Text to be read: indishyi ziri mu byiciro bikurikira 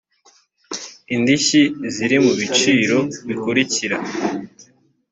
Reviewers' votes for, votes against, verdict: 1, 2, rejected